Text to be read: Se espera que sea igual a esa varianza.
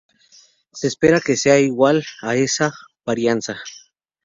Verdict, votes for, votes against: accepted, 4, 0